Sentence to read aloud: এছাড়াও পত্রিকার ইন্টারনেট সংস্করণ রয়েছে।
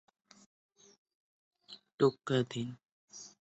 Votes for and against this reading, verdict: 0, 2, rejected